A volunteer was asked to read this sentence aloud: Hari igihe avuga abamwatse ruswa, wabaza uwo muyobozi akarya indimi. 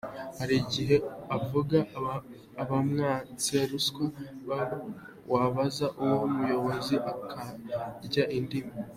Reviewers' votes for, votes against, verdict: 1, 2, rejected